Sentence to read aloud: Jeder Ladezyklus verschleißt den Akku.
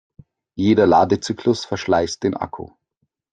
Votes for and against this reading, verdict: 2, 0, accepted